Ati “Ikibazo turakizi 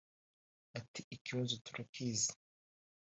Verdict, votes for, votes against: accepted, 2, 0